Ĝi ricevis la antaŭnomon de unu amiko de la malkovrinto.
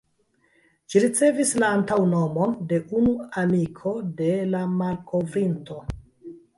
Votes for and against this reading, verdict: 0, 2, rejected